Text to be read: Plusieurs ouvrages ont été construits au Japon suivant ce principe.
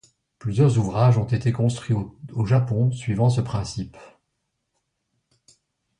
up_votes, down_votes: 1, 2